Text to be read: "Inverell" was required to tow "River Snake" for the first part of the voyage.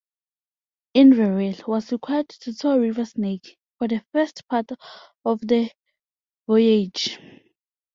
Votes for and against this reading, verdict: 2, 1, accepted